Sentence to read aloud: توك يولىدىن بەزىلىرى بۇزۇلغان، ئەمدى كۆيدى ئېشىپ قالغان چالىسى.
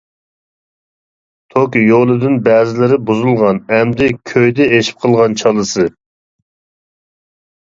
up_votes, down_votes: 2, 0